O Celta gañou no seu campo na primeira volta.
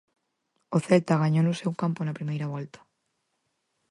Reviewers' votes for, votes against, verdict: 4, 0, accepted